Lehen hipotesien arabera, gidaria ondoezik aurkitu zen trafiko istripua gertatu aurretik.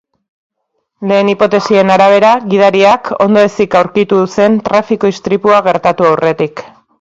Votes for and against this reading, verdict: 1, 2, rejected